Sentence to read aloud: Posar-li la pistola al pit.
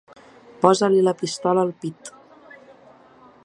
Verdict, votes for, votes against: rejected, 1, 2